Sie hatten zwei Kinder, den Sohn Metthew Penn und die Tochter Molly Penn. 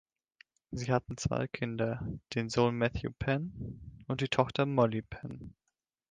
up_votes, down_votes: 2, 0